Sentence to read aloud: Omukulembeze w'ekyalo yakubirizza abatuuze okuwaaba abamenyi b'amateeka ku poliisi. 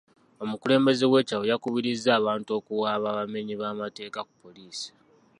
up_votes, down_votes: 0, 2